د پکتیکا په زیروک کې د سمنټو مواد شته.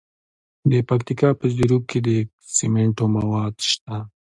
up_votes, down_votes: 2, 0